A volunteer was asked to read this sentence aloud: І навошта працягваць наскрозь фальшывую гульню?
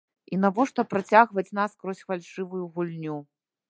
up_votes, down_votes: 0, 2